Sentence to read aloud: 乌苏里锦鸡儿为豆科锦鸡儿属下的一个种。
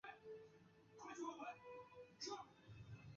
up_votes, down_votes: 0, 2